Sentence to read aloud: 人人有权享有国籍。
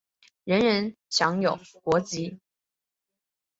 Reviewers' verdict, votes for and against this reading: accepted, 3, 0